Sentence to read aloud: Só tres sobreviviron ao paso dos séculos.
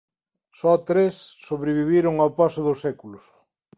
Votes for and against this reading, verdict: 2, 0, accepted